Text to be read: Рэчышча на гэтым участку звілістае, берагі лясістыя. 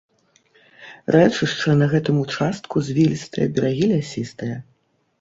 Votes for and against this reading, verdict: 2, 0, accepted